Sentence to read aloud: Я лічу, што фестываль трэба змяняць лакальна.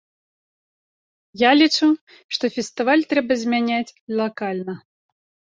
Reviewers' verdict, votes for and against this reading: accepted, 2, 0